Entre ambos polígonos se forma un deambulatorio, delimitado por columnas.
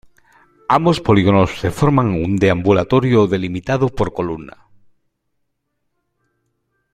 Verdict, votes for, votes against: rejected, 0, 2